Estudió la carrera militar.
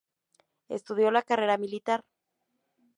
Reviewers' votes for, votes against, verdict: 2, 0, accepted